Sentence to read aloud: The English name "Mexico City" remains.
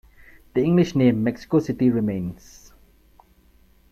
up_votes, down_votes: 2, 0